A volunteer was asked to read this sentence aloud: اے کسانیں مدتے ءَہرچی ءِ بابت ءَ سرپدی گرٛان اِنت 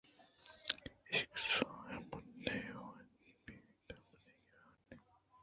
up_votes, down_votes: 0, 2